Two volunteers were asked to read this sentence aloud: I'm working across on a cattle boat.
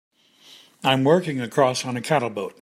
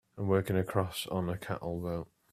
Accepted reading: first